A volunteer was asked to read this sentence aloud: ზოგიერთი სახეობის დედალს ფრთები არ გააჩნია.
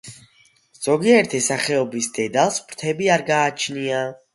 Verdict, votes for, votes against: accepted, 2, 0